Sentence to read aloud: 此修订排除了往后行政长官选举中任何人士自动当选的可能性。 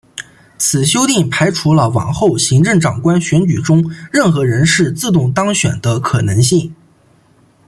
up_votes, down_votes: 2, 0